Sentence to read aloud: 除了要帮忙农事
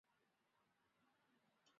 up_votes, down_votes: 0, 2